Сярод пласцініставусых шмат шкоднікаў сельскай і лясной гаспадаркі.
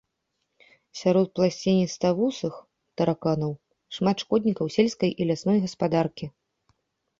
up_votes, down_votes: 1, 2